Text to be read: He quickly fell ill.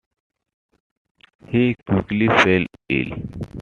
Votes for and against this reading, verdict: 2, 0, accepted